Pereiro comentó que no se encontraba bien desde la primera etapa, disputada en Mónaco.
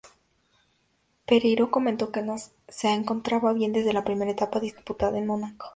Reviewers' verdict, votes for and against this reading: rejected, 0, 2